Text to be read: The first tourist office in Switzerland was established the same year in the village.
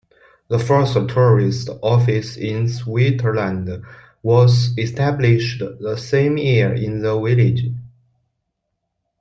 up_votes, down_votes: 1, 2